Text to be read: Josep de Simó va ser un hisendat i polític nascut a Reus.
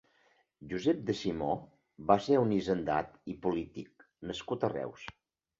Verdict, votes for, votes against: accepted, 2, 0